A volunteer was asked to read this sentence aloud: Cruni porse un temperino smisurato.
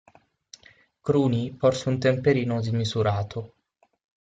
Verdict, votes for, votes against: accepted, 6, 0